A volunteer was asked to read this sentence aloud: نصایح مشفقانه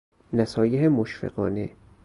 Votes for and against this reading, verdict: 2, 2, rejected